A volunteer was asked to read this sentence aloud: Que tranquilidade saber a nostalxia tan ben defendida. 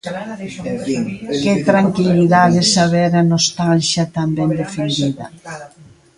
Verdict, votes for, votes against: rejected, 1, 2